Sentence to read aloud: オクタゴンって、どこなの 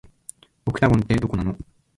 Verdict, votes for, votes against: rejected, 0, 2